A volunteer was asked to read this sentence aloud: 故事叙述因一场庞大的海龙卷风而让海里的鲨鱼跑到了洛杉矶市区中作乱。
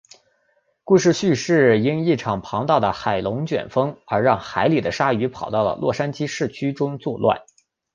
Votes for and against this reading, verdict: 3, 2, accepted